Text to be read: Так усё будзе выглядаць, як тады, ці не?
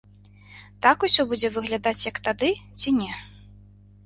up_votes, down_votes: 2, 0